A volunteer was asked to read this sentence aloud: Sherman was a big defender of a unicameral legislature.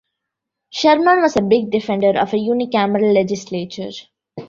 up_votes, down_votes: 2, 0